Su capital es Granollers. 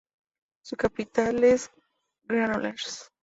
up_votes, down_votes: 0, 2